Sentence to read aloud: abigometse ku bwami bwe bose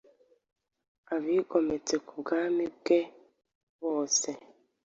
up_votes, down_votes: 2, 0